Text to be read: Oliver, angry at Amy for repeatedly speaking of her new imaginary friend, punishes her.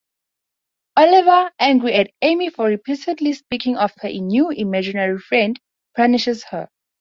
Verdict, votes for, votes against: accepted, 2, 0